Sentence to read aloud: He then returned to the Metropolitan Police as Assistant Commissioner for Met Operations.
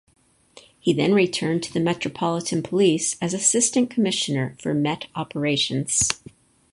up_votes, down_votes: 4, 0